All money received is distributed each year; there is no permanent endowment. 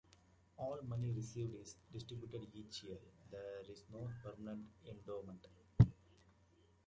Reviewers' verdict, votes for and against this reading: rejected, 1, 2